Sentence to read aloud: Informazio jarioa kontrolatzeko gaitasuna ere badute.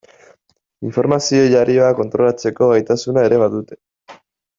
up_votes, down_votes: 2, 0